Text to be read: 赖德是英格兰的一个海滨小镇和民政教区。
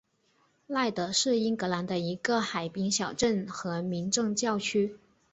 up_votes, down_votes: 3, 0